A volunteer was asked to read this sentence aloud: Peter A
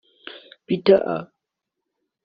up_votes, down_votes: 0, 2